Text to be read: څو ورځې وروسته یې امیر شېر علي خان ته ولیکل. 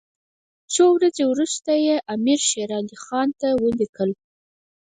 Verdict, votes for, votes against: rejected, 2, 4